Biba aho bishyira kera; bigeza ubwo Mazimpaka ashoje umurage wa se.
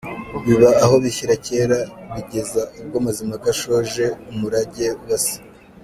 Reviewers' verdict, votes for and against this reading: accepted, 2, 1